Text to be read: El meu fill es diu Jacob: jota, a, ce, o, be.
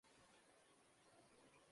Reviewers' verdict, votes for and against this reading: rejected, 0, 2